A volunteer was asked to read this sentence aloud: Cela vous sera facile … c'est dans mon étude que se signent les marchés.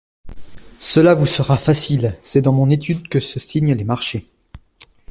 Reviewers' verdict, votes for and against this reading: accepted, 2, 0